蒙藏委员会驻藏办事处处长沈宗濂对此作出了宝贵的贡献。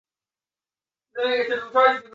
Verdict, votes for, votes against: rejected, 0, 5